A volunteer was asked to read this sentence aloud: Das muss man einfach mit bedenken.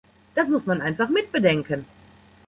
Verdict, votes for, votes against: accepted, 2, 0